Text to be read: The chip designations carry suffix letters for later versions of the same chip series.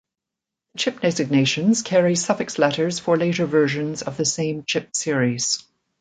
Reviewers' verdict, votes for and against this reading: accepted, 2, 1